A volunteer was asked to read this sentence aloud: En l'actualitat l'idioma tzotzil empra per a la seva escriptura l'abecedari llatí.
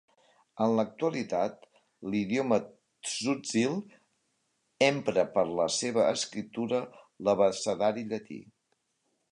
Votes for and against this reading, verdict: 2, 0, accepted